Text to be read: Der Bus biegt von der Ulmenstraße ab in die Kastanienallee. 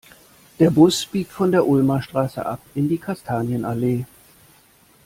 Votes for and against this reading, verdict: 0, 2, rejected